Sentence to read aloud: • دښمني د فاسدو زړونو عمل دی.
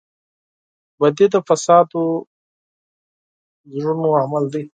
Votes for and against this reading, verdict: 0, 4, rejected